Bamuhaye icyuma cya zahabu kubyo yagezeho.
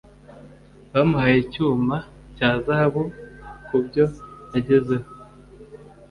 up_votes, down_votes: 2, 0